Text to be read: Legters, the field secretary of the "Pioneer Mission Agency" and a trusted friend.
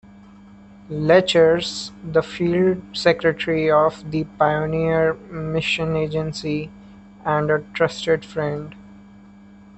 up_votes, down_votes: 2, 1